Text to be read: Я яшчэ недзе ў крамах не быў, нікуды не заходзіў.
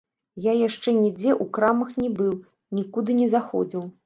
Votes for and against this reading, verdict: 1, 2, rejected